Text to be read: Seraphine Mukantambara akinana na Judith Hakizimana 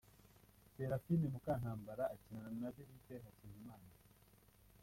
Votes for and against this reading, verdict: 0, 2, rejected